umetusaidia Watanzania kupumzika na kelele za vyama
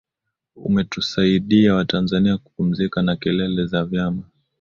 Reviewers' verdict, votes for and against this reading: accepted, 2, 1